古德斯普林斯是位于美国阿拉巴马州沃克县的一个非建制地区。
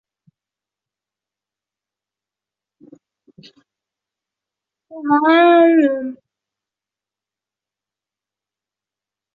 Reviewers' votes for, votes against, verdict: 0, 2, rejected